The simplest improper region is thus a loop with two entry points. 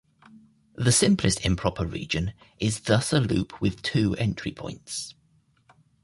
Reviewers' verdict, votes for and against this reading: accepted, 2, 0